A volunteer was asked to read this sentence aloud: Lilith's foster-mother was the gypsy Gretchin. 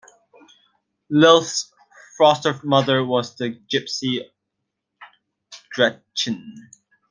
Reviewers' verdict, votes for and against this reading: rejected, 1, 2